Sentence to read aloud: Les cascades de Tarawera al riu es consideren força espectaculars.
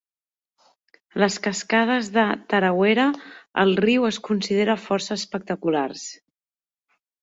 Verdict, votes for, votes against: rejected, 1, 2